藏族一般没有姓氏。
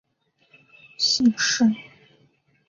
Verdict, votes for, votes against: rejected, 0, 2